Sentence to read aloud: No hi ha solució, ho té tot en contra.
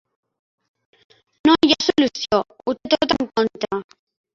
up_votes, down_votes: 1, 2